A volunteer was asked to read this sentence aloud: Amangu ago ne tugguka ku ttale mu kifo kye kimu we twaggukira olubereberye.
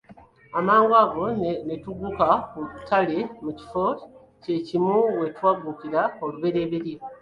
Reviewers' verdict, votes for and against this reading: rejected, 1, 2